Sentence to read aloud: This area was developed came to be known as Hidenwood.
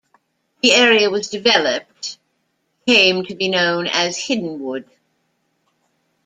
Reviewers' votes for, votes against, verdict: 1, 2, rejected